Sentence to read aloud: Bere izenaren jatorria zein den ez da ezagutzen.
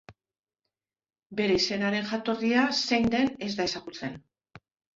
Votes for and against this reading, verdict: 2, 0, accepted